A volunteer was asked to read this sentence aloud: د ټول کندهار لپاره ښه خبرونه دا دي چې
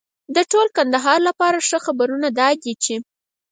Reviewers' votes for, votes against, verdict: 2, 4, rejected